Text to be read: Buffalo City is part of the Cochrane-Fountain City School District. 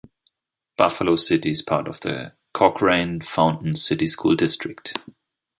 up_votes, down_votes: 2, 0